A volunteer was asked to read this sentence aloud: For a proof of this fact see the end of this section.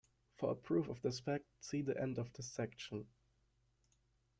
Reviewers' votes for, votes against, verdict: 1, 2, rejected